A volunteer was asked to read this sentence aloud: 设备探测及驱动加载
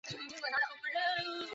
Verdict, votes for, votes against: rejected, 1, 3